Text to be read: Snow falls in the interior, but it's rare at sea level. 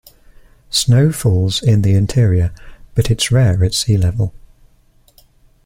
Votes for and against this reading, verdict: 2, 0, accepted